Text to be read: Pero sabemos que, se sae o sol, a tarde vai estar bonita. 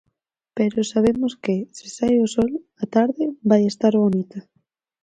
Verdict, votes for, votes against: accepted, 4, 0